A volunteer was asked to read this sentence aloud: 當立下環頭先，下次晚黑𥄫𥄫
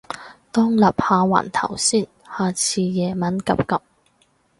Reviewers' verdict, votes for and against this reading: rejected, 0, 2